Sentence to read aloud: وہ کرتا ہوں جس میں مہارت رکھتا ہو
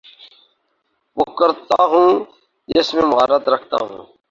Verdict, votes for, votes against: rejected, 0, 2